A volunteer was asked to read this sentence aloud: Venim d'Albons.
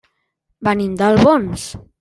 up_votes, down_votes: 3, 0